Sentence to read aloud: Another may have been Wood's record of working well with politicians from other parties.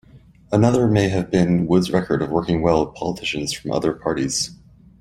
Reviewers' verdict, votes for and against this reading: accepted, 2, 0